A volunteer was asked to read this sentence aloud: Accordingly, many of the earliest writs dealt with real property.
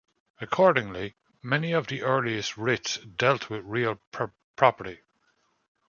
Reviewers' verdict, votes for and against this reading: rejected, 1, 2